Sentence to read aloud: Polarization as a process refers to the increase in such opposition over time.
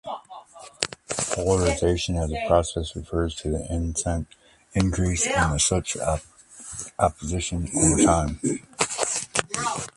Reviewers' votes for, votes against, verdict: 1, 2, rejected